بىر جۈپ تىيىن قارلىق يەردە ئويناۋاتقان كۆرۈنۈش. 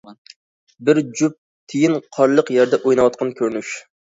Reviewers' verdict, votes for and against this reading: accepted, 2, 0